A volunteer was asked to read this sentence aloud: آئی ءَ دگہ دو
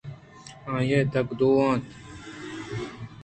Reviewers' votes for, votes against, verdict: 2, 0, accepted